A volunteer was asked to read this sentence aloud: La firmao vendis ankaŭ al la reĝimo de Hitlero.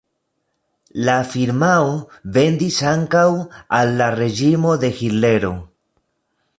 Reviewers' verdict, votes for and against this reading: rejected, 1, 2